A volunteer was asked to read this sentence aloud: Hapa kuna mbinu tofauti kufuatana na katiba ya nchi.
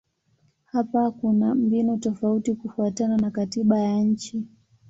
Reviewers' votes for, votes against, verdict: 3, 1, accepted